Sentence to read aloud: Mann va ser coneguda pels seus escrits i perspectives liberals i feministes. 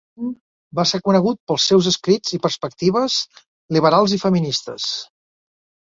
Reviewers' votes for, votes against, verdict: 1, 2, rejected